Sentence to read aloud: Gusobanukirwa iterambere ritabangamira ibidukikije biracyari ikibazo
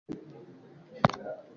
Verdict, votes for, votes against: rejected, 0, 2